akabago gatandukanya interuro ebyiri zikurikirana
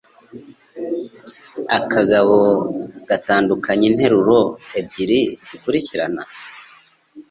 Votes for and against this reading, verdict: 2, 0, accepted